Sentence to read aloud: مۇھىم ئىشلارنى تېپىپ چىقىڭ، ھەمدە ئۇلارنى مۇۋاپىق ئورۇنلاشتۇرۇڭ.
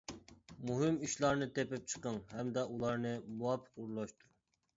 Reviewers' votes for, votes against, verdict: 0, 2, rejected